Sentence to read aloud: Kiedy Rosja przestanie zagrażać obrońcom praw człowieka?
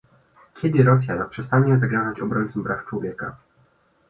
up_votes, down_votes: 1, 2